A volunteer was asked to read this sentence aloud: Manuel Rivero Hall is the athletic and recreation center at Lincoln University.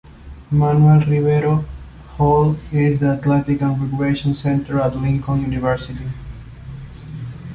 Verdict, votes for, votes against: accepted, 2, 0